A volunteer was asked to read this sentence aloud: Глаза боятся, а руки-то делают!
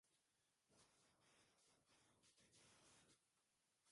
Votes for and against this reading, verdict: 0, 2, rejected